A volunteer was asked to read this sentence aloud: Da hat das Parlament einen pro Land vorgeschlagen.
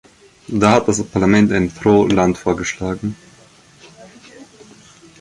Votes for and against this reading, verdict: 1, 3, rejected